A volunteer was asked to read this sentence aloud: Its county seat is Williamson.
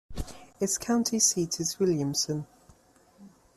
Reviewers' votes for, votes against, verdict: 2, 0, accepted